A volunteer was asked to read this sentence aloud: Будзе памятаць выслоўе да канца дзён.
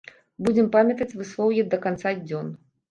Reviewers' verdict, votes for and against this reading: rejected, 1, 3